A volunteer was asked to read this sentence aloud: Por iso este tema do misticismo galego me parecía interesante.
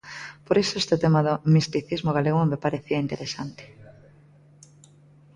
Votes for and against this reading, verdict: 1, 2, rejected